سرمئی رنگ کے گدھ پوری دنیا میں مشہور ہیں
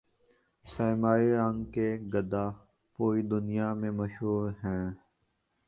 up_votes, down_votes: 1, 4